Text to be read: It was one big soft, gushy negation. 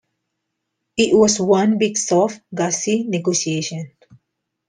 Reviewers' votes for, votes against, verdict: 0, 2, rejected